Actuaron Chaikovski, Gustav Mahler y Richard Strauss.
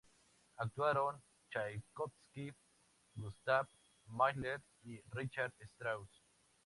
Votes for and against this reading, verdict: 0, 2, rejected